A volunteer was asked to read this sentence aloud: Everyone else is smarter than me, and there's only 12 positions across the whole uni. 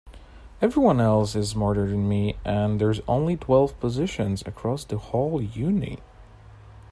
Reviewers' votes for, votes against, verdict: 0, 2, rejected